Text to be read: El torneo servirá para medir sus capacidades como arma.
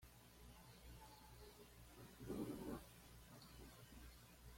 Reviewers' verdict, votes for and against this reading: rejected, 1, 2